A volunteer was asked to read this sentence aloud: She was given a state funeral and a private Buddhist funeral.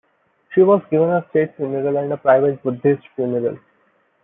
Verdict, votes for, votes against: rejected, 0, 2